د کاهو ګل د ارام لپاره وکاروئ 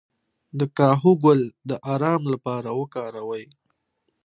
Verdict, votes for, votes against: accepted, 2, 0